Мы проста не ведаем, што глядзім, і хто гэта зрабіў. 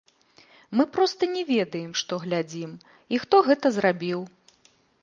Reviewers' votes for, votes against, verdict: 1, 3, rejected